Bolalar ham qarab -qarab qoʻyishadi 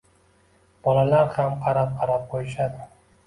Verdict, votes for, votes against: accepted, 2, 0